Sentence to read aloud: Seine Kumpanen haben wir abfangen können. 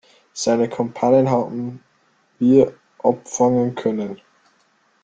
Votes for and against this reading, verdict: 0, 2, rejected